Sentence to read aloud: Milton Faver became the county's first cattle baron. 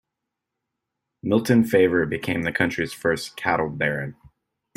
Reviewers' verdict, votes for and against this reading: rejected, 0, 2